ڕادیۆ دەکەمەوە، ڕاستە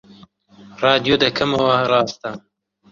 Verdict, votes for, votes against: rejected, 1, 2